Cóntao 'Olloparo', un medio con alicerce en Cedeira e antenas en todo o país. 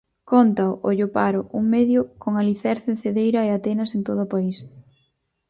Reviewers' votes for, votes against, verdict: 0, 4, rejected